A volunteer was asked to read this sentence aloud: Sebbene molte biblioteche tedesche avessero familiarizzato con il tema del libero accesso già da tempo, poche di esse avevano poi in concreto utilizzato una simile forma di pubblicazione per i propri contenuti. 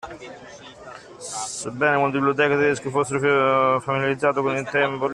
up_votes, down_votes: 0, 2